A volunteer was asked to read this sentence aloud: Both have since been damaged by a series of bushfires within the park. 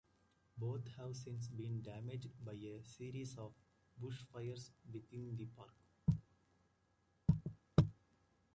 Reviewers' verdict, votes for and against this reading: rejected, 1, 2